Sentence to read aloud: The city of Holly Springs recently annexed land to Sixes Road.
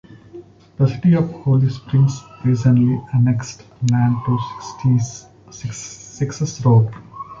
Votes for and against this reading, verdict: 0, 2, rejected